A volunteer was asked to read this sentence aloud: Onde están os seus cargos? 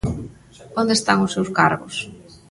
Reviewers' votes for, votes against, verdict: 2, 0, accepted